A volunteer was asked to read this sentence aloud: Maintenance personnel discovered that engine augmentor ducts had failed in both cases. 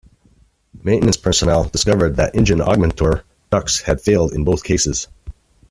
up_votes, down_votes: 2, 0